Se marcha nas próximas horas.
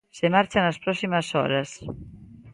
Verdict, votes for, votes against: accepted, 2, 0